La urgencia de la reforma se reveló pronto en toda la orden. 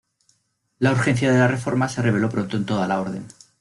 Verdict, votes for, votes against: accepted, 2, 0